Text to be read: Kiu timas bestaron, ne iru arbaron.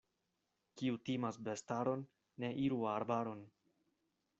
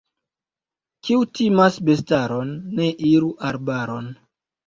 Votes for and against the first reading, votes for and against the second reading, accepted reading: 2, 0, 1, 2, first